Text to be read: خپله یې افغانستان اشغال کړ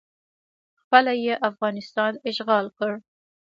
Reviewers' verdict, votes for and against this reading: accepted, 2, 0